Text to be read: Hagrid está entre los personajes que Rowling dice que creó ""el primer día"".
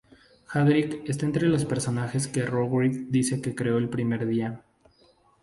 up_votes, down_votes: 2, 0